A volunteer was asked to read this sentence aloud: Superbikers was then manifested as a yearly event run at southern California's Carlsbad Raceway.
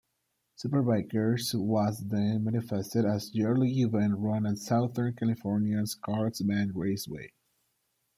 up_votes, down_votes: 2, 1